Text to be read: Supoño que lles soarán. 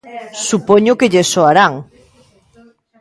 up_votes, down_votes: 2, 0